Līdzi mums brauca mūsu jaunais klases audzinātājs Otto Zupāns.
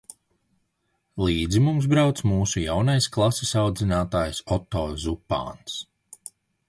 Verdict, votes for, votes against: accepted, 2, 0